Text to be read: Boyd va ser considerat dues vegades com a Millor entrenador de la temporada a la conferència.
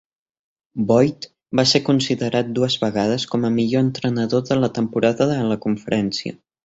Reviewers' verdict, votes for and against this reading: rejected, 0, 2